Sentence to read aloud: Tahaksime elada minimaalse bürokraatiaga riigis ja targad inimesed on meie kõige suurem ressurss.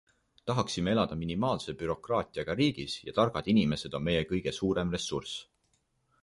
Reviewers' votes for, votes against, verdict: 2, 0, accepted